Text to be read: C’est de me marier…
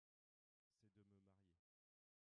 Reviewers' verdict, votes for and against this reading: rejected, 0, 2